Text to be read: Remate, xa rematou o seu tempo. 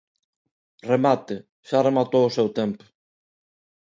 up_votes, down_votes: 2, 0